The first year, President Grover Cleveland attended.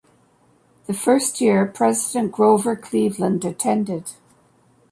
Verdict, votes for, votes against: accepted, 2, 0